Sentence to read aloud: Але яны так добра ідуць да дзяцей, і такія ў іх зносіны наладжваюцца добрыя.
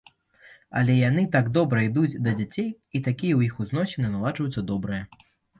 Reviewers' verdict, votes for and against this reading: rejected, 1, 2